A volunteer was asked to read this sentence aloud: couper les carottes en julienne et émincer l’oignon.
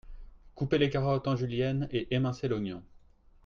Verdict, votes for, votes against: accepted, 4, 0